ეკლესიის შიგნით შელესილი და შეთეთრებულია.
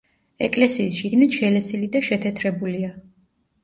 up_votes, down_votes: 2, 0